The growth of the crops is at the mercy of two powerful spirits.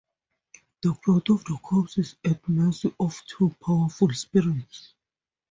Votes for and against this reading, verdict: 0, 2, rejected